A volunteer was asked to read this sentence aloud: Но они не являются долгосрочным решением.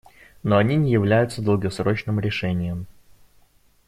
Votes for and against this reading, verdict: 2, 0, accepted